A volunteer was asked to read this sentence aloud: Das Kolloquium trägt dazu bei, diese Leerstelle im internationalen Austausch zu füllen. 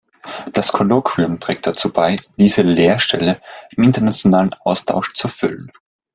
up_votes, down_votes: 2, 0